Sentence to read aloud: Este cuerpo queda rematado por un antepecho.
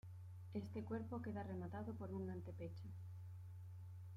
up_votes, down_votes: 2, 0